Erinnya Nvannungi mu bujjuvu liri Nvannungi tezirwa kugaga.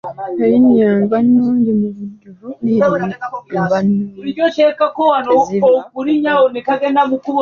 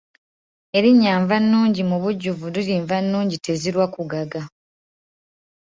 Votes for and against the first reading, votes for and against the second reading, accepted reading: 1, 2, 2, 0, second